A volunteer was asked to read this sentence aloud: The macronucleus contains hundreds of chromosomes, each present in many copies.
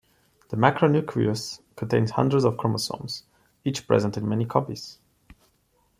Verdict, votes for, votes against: accepted, 2, 0